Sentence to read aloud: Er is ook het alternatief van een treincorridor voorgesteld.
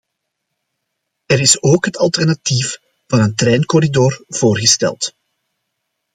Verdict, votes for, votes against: accepted, 2, 0